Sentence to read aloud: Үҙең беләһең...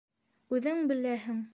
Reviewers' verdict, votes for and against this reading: accepted, 2, 0